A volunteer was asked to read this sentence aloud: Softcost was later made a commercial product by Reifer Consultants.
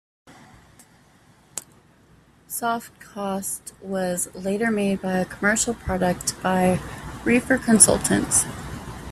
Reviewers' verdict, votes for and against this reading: rejected, 1, 2